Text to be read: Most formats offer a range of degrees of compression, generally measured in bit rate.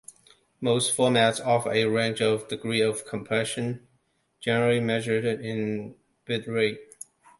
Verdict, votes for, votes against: rejected, 0, 2